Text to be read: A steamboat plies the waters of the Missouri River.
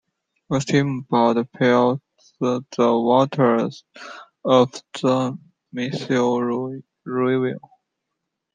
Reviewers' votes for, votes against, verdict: 0, 2, rejected